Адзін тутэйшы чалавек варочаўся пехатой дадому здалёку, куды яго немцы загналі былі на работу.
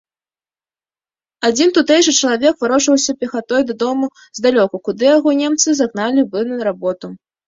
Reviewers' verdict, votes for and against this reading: accepted, 2, 0